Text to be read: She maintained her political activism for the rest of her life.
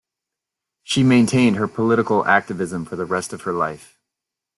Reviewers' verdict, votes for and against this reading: accepted, 2, 0